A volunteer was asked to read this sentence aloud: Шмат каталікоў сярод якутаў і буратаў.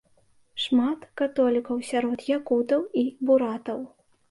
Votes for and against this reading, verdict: 1, 2, rejected